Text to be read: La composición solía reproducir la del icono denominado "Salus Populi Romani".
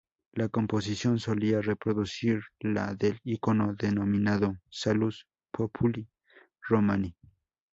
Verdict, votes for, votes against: accepted, 2, 0